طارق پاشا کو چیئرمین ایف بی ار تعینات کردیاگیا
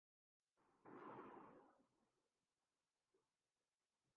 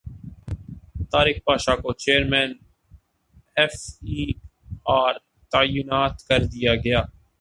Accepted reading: second